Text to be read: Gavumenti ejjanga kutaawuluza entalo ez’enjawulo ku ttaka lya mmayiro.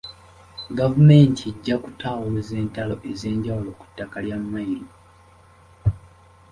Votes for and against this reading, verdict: 0, 2, rejected